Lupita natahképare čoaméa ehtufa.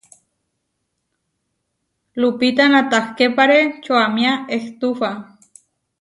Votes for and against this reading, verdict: 2, 0, accepted